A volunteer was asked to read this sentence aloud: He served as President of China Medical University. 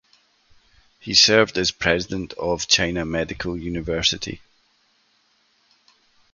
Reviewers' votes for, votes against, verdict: 2, 0, accepted